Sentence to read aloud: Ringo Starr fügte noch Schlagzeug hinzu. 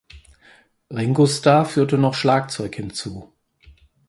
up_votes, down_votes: 2, 4